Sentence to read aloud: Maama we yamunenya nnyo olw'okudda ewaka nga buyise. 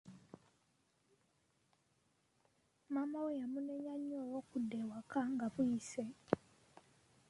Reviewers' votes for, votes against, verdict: 1, 2, rejected